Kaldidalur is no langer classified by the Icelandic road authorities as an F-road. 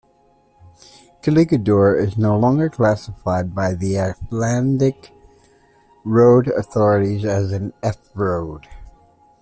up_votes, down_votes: 1, 2